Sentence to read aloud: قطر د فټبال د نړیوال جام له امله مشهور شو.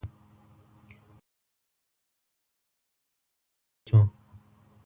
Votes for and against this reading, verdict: 0, 2, rejected